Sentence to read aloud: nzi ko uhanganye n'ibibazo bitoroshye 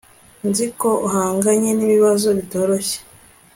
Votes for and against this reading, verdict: 3, 0, accepted